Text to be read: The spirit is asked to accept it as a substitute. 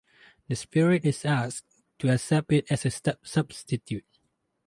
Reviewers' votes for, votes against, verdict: 2, 4, rejected